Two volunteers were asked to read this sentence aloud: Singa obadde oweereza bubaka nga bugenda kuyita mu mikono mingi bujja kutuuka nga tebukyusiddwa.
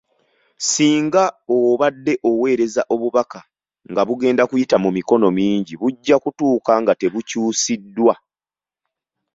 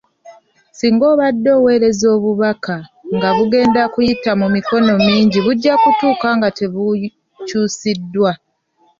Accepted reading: first